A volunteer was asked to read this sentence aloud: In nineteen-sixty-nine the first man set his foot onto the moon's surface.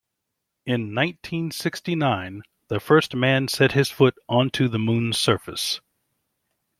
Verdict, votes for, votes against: accepted, 2, 0